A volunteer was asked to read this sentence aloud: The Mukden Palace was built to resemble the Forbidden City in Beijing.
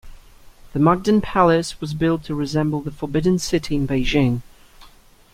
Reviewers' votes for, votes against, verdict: 2, 0, accepted